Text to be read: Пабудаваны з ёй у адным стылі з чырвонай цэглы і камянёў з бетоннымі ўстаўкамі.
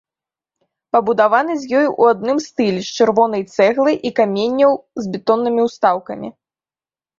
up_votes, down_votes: 0, 2